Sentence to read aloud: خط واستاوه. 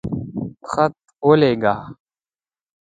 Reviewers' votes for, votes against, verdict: 0, 2, rejected